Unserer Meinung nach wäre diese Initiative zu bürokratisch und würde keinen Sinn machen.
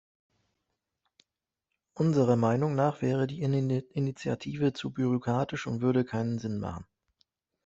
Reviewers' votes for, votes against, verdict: 1, 2, rejected